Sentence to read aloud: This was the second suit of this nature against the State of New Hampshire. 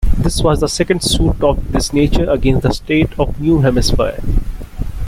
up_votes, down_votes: 1, 2